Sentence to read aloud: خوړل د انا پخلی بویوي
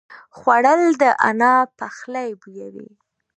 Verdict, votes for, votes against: accepted, 2, 1